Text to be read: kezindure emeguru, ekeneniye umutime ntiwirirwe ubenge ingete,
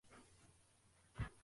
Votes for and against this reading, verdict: 0, 2, rejected